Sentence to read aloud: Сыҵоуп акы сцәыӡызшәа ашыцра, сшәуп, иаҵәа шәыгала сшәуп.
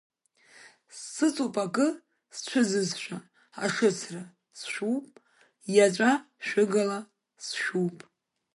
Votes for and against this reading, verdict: 2, 1, accepted